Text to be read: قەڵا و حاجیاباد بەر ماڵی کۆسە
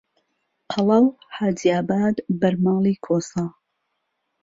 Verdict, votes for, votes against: accepted, 2, 1